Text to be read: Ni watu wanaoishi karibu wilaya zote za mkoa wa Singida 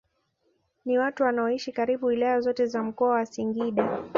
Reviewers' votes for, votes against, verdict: 2, 0, accepted